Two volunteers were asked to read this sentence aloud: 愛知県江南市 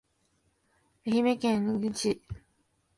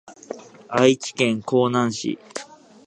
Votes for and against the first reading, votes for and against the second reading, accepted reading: 0, 2, 2, 0, second